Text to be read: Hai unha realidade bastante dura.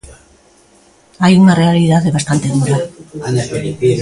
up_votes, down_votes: 1, 2